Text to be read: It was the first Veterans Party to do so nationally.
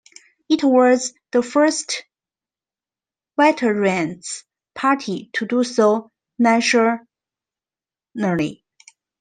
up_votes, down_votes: 2, 1